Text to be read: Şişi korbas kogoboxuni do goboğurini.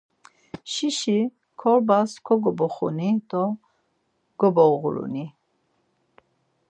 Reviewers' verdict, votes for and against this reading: accepted, 4, 0